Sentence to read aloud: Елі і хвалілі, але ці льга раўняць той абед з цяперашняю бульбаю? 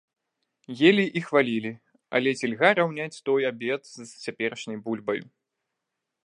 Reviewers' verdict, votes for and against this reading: rejected, 1, 2